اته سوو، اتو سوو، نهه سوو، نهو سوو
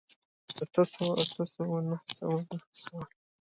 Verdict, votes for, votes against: accepted, 2, 1